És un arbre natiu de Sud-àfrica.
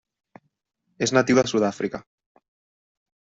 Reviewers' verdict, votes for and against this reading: rejected, 1, 2